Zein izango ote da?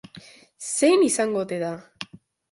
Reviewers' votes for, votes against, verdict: 2, 0, accepted